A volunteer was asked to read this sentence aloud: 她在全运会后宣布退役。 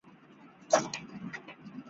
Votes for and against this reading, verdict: 0, 2, rejected